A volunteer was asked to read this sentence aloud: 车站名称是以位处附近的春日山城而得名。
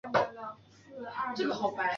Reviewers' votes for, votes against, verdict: 0, 2, rejected